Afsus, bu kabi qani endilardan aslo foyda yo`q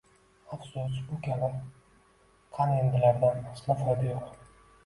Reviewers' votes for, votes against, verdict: 1, 2, rejected